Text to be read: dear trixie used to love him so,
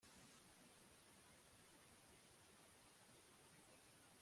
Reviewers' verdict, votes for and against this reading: rejected, 0, 2